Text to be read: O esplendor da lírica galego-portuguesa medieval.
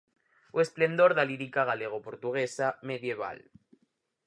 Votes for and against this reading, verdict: 4, 0, accepted